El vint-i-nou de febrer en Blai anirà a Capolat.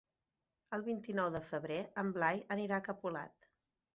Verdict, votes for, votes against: accepted, 2, 0